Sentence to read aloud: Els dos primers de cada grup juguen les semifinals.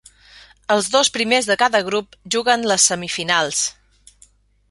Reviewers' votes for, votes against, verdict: 5, 0, accepted